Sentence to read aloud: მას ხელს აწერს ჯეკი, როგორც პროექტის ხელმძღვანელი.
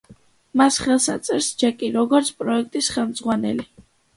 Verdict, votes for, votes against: accepted, 2, 0